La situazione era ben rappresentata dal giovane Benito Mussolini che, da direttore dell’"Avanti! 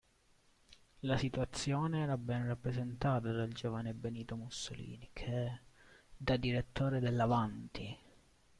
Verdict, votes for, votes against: accepted, 2, 0